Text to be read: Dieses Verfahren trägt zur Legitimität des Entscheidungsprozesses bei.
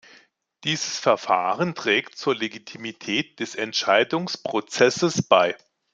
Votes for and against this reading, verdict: 2, 0, accepted